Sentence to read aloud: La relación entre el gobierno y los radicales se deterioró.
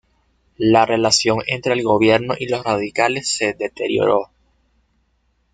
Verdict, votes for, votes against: accepted, 2, 0